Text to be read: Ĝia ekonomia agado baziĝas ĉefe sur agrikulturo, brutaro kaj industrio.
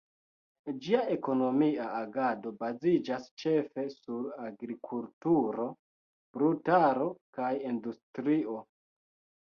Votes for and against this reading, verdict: 2, 0, accepted